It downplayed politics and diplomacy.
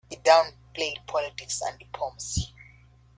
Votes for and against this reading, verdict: 2, 0, accepted